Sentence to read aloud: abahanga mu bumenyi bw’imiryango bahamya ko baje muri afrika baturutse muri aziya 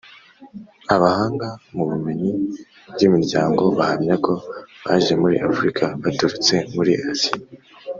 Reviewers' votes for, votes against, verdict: 3, 0, accepted